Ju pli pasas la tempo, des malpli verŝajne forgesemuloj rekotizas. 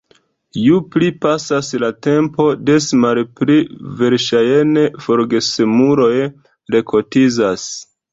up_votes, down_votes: 2, 1